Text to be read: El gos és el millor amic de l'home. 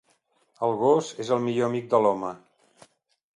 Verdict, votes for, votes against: accepted, 2, 0